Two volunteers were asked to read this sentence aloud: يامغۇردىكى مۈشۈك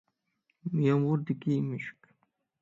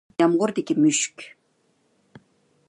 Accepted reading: second